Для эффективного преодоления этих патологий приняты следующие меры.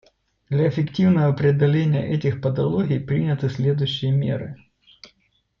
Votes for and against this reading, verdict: 2, 0, accepted